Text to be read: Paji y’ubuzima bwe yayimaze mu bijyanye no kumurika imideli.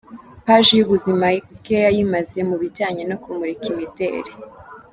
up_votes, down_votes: 2, 0